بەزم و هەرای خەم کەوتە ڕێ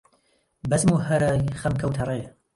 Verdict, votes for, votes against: rejected, 1, 2